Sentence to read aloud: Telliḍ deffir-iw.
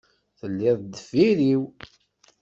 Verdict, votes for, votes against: accepted, 2, 0